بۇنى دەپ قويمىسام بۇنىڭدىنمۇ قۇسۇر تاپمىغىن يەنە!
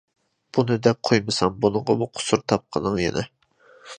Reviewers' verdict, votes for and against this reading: rejected, 0, 2